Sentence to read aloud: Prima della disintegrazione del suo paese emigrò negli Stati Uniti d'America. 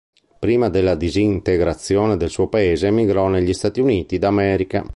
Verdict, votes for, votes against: accepted, 4, 0